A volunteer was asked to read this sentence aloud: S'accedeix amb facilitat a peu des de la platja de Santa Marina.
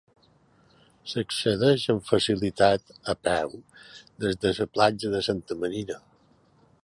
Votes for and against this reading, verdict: 2, 1, accepted